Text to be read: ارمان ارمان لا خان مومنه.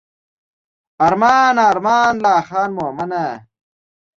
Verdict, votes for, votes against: accepted, 2, 0